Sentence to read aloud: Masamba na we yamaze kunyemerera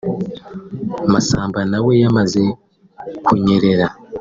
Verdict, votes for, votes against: rejected, 1, 3